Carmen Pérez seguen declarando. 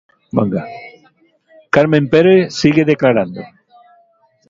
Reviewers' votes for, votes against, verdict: 0, 2, rejected